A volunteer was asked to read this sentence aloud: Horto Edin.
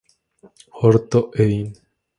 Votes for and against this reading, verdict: 2, 0, accepted